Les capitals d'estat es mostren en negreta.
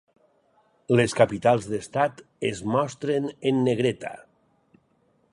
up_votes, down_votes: 4, 0